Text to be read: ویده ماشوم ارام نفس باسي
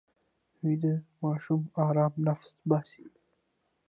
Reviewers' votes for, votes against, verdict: 1, 2, rejected